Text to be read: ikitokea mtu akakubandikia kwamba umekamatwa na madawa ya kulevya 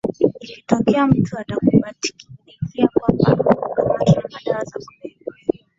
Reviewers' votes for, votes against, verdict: 0, 2, rejected